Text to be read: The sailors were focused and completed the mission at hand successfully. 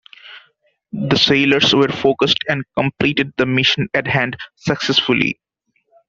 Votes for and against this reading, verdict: 2, 0, accepted